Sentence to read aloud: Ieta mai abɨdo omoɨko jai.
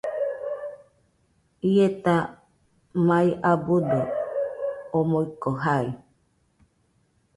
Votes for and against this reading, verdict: 2, 0, accepted